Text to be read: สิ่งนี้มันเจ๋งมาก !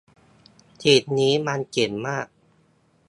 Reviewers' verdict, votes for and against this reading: rejected, 1, 2